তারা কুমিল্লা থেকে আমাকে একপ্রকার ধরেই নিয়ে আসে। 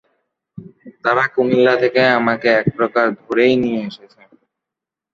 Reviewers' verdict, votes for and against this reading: rejected, 0, 2